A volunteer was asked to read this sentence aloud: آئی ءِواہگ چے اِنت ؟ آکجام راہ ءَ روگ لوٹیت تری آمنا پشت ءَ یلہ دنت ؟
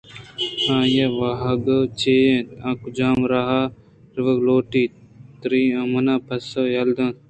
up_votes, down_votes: 0, 2